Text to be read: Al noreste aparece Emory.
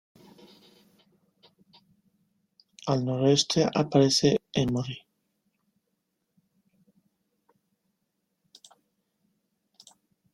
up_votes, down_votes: 1, 2